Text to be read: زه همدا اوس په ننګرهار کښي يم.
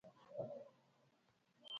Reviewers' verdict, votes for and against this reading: rejected, 1, 2